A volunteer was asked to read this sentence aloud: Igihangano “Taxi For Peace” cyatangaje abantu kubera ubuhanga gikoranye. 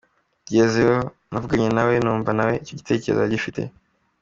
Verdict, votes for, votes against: rejected, 0, 2